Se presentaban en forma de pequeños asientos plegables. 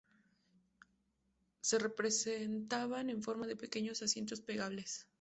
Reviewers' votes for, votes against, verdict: 0, 4, rejected